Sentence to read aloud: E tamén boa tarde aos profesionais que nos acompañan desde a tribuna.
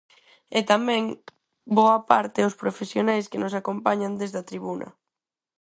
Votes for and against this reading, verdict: 2, 4, rejected